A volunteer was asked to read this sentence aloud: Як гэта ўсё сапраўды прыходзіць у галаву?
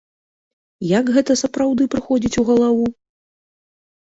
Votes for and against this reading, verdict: 1, 2, rejected